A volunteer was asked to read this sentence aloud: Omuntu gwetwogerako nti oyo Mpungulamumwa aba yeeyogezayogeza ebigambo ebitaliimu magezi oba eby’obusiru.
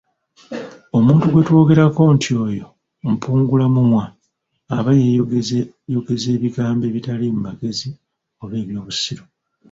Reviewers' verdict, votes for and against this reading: rejected, 1, 2